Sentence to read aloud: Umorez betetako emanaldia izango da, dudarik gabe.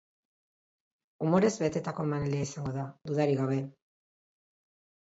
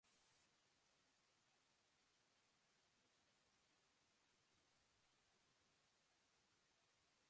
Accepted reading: first